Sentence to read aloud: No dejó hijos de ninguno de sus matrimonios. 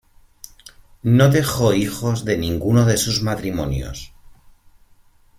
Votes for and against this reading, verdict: 2, 1, accepted